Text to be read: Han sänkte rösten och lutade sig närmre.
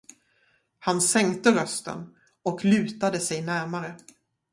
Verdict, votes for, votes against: accepted, 2, 0